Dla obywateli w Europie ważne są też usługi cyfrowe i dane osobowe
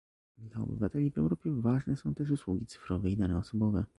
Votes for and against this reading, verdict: 1, 2, rejected